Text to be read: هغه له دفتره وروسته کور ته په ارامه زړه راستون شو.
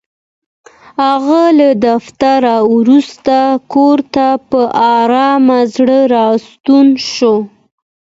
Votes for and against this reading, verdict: 2, 0, accepted